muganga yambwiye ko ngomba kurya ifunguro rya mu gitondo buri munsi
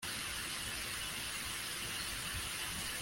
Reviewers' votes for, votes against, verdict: 1, 2, rejected